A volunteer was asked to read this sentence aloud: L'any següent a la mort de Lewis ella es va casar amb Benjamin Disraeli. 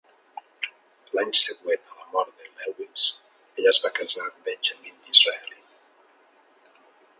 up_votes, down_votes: 1, 2